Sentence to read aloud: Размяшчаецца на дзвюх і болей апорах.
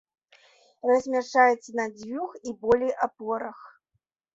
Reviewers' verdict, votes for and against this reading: accepted, 2, 0